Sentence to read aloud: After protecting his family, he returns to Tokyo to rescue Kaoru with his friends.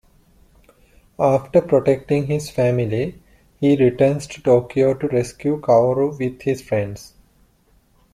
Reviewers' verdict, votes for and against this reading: accepted, 2, 0